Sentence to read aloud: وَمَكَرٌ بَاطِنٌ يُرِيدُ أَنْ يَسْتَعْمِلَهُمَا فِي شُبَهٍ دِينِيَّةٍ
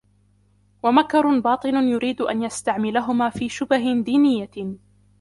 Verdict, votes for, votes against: rejected, 2, 3